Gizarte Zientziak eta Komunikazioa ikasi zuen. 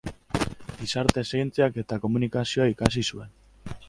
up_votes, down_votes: 4, 0